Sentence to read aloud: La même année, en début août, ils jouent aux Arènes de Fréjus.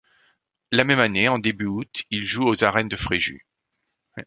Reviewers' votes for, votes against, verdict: 1, 2, rejected